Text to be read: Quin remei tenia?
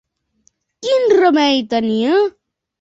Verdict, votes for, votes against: accepted, 2, 0